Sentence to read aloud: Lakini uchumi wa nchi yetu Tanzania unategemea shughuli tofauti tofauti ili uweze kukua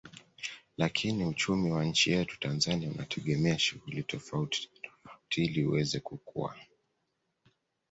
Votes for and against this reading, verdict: 0, 2, rejected